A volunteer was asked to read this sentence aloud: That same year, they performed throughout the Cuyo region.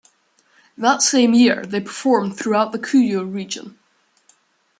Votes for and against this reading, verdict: 1, 2, rejected